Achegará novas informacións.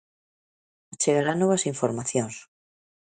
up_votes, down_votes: 2, 1